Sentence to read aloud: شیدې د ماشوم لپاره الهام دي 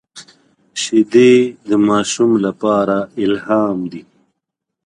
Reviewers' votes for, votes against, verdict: 2, 0, accepted